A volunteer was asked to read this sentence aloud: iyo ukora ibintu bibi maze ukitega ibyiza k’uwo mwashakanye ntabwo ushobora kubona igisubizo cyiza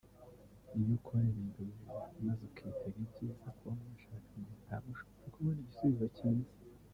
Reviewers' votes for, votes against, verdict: 2, 1, accepted